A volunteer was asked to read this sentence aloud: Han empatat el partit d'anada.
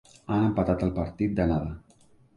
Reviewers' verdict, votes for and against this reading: accepted, 3, 1